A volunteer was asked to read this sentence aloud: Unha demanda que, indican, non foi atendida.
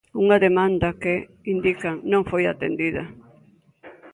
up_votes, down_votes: 2, 0